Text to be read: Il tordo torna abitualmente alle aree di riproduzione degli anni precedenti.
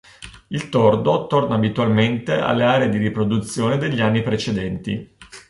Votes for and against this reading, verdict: 2, 0, accepted